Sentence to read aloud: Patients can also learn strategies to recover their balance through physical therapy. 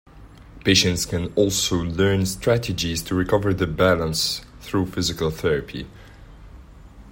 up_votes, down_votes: 2, 0